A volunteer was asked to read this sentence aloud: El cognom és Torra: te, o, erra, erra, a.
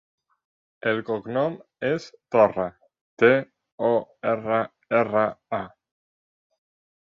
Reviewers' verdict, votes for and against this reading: accepted, 3, 0